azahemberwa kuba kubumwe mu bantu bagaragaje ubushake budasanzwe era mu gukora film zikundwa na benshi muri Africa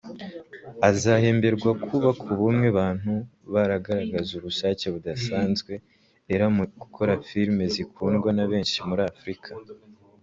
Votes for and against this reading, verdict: 1, 2, rejected